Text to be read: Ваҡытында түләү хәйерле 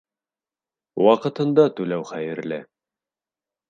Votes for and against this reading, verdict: 3, 0, accepted